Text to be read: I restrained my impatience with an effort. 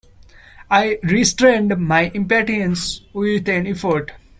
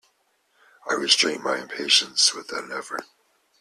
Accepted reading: second